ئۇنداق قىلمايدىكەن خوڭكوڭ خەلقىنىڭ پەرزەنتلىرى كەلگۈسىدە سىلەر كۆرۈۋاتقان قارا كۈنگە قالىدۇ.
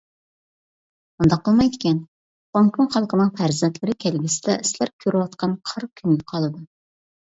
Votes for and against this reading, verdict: 1, 2, rejected